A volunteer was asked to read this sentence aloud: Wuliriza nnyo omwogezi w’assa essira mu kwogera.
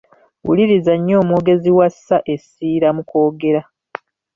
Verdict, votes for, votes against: rejected, 1, 2